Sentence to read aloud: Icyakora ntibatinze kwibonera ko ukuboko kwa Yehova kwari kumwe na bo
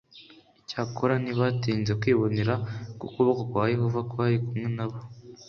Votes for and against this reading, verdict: 2, 0, accepted